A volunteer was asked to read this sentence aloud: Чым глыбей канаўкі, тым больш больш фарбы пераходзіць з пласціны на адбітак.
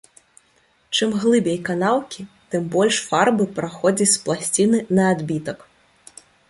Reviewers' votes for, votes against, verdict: 2, 3, rejected